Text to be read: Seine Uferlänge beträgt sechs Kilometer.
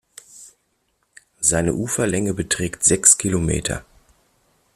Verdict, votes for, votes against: accepted, 2, 1